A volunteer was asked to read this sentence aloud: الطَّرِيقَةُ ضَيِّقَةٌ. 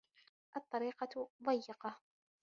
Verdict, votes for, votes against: accepted, 2, 0